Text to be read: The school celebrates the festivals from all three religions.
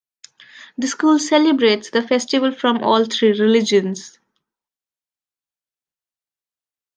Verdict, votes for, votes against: rejected, 0, 2